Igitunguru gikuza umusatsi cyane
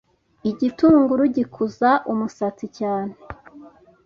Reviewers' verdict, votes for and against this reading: accepted, 2, 0